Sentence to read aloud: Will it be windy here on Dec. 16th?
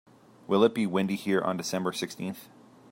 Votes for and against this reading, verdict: 0, 2, rejected